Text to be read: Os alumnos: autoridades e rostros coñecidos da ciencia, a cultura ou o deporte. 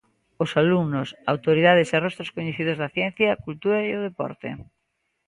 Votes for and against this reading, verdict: 0, 2, rejected